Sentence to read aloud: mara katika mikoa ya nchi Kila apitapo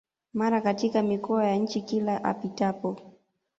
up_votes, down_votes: 2, 0